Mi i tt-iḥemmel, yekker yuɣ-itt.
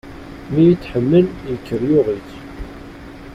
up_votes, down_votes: 1, 2